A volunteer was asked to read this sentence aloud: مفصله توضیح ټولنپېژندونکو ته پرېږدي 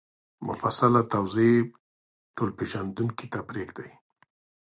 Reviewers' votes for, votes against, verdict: 2, 0, accepted